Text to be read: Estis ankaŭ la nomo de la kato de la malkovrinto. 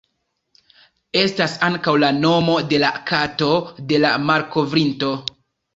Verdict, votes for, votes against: rejected, 1, 2